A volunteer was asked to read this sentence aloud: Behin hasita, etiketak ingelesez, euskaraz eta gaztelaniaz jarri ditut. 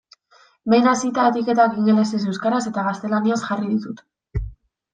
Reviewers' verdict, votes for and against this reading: accepted, 2, 0